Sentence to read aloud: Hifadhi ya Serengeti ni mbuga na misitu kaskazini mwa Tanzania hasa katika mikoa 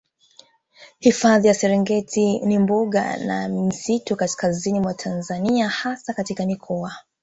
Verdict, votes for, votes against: rejected, 1, 2